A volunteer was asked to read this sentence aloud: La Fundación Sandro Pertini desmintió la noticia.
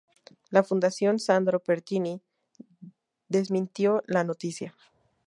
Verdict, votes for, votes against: accepted, 2, 0